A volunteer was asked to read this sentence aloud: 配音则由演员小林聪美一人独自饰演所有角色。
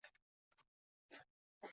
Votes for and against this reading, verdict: 1, 5, rejected